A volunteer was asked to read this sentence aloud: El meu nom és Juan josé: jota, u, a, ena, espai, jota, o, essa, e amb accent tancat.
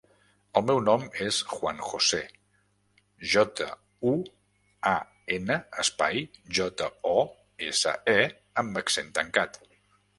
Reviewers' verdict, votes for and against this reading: rejected, 0, 2